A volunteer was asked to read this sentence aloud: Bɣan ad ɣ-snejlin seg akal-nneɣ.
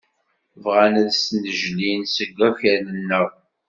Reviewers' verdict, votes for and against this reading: rejected, 1, 2